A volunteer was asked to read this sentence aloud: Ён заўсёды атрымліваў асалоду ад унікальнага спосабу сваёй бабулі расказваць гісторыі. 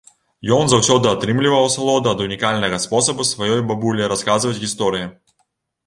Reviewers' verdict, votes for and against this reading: accepted, 2, 0